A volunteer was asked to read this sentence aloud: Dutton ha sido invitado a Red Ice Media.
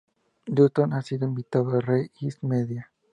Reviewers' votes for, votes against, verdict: 2, 0, accepted